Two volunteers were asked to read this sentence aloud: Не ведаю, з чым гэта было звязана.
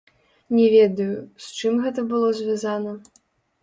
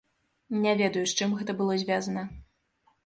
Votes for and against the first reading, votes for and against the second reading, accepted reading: 0, 2, 3, 0, second